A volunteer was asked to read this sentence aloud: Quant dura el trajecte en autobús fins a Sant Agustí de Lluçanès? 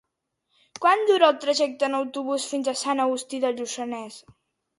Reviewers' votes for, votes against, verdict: 2, 1, accepted